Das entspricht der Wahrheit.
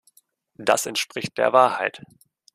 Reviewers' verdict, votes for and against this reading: accepted, 2, 0